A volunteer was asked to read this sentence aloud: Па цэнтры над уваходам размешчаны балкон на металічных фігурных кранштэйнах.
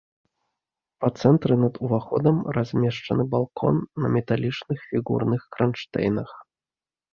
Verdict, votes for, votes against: rejected, 0, 2